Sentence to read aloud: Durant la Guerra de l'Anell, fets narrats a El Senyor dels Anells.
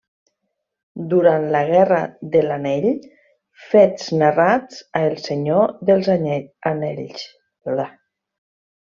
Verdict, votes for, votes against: rejected, 0, 2